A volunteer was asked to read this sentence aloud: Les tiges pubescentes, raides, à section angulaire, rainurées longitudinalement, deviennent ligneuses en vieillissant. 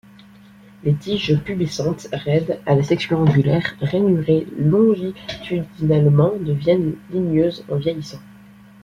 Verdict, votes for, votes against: accepted, 2, 0